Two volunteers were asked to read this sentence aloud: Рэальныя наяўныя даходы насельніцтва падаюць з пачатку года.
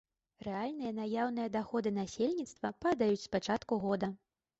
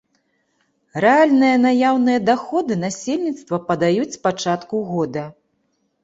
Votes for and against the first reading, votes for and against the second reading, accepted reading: 2, 1, 1, 2, first